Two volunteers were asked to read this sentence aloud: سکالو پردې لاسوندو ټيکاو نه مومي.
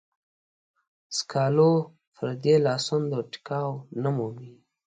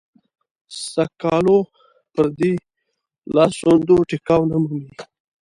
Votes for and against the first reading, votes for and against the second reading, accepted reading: 2, 0, 0, 2, first